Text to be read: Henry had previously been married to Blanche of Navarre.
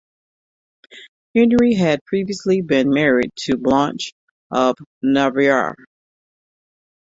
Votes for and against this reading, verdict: 1, 2, rejected